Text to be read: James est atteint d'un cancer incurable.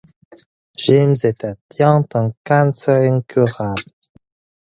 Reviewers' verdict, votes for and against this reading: rejected, 0, 4